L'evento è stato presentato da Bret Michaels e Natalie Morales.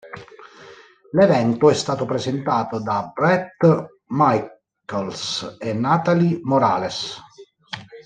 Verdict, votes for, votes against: rejected, 1, 2